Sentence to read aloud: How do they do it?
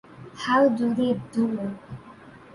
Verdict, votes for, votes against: rejected, 0, 2